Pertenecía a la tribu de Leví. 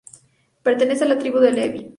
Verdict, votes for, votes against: rejected, 2, 2